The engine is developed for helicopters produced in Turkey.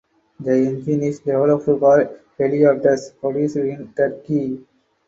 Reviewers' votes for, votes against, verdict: 0, 2, rejected